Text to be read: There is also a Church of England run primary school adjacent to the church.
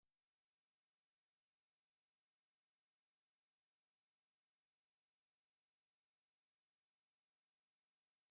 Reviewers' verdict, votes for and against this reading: rejected, 0, 2